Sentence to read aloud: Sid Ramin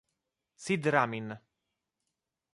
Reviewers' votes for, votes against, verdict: 2, 0, accepted